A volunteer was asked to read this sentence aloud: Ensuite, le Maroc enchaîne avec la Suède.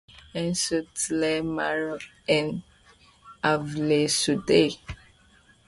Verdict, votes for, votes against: rejected, 1, 2